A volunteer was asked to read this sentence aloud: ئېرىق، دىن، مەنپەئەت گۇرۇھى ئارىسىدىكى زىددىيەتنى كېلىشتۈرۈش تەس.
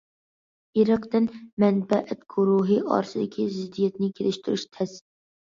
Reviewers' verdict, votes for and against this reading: accepted, 2, 0